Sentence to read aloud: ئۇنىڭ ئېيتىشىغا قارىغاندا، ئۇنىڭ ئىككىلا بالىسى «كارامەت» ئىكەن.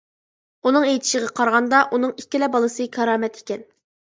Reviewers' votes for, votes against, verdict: 2, 0, accepted